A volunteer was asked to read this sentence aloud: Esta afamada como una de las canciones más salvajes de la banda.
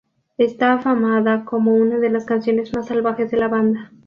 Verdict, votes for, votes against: accepted, 2, 0